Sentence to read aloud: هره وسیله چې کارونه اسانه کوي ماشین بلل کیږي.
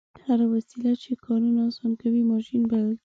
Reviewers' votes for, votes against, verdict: 0, 2, rejected